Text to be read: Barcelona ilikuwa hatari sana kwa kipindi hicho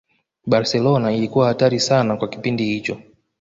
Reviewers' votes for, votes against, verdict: 2, 0, accepted